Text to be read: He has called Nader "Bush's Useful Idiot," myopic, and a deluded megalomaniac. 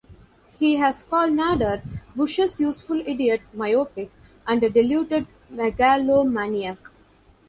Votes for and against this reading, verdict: 2, 0, accepted